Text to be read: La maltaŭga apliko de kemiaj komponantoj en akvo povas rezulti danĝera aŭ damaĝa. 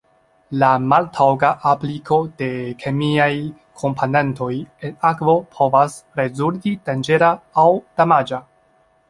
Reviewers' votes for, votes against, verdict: 0, 2, rejected